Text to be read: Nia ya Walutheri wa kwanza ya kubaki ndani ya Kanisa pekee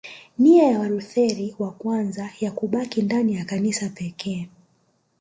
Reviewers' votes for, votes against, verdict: 1, 2, rejected